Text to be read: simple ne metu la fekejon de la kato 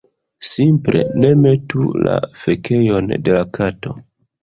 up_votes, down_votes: 0, 2